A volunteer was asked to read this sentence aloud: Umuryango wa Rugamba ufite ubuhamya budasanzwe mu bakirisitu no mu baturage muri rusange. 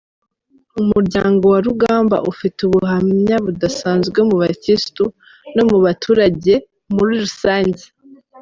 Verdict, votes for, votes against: rejected, 1, 2